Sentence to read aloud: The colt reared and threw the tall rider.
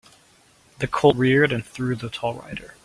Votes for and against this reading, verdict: 2, 0, accepted